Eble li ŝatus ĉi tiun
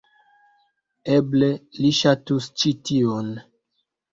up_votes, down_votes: 2, 0